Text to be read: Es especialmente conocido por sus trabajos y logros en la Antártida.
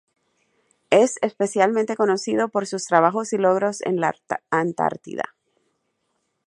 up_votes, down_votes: 2, 0